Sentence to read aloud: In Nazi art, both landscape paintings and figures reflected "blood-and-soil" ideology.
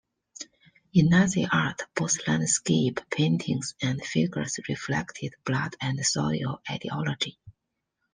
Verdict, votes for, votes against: accepted, 2, 0